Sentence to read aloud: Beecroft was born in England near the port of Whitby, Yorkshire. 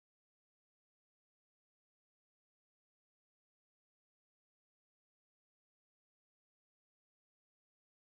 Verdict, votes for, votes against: rejected, 2, 4